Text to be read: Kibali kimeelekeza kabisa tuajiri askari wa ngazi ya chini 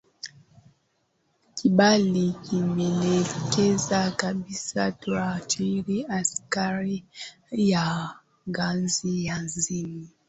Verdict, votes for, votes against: rejected, 0, 2